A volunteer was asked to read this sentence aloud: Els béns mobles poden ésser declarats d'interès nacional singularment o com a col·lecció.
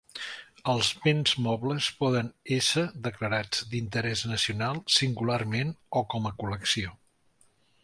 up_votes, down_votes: 2, 0